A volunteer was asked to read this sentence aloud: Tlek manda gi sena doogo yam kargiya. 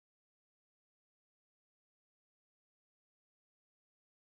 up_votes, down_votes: 0, 3